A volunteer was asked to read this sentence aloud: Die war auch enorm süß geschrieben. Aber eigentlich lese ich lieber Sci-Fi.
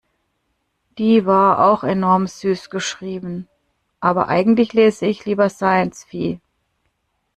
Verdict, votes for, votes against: rejected, 0, 2